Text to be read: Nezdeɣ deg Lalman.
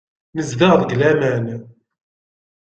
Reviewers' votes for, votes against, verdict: 1, 2, rejected